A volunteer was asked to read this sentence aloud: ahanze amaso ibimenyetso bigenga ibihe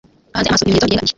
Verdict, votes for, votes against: rejected, 1, 3